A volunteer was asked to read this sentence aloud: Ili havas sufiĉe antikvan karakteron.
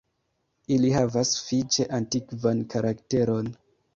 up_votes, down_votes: 0, 2